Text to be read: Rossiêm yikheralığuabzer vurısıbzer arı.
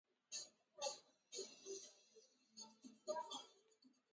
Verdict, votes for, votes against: rejected, 0, 2